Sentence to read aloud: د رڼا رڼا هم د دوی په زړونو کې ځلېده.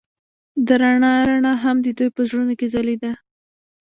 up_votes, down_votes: 0, 2